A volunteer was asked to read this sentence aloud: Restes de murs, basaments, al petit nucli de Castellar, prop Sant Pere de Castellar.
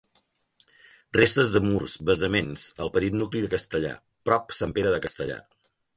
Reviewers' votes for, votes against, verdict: 2, 0, accepted